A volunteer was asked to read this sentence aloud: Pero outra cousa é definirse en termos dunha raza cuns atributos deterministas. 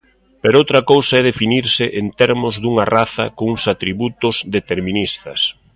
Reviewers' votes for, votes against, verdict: 2, 0, accepted